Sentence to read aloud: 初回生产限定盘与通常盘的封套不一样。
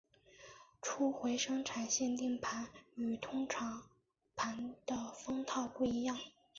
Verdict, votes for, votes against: rejected, 0, 2